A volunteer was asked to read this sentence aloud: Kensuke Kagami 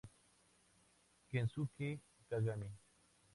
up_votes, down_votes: 2, 2